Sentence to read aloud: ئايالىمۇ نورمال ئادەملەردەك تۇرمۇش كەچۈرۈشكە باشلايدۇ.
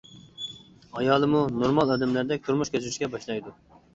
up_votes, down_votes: 2, 0